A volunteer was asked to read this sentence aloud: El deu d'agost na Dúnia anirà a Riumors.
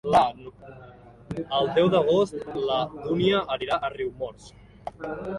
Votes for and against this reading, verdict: 0, 2, rejected